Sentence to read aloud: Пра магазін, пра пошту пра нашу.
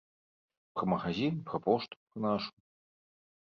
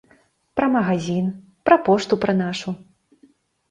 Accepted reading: second